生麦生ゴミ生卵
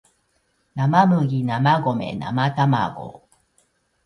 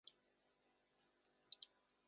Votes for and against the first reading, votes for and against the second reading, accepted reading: 2, 1, 0, 2, first